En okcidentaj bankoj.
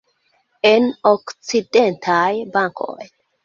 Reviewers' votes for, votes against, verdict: 1, 2, rejected